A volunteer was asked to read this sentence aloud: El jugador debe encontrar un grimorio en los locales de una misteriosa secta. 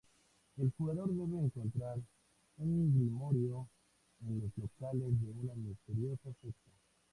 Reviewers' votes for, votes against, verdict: 2, 0, accepted